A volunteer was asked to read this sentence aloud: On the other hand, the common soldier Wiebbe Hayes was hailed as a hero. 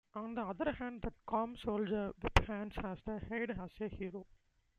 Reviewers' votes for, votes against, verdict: 0, 2, rejected